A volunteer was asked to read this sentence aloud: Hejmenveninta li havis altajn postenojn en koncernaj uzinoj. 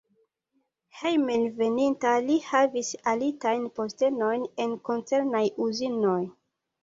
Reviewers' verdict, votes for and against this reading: accepted, 2, 1